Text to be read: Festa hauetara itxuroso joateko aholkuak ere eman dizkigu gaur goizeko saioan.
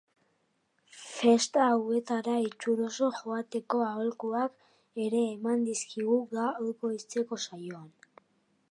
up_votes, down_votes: 3, 1